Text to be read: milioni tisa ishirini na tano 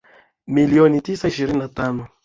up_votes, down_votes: 2, 1